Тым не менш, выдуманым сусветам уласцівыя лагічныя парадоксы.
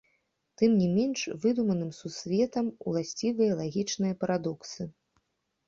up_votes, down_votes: 2, 0